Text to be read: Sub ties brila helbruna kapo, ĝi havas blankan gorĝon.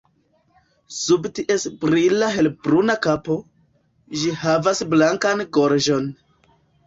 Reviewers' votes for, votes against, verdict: 2, 1, accepted